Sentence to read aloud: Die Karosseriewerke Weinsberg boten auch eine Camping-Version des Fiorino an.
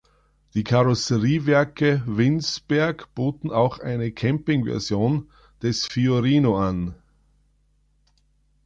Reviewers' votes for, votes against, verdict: 0, 3, rejected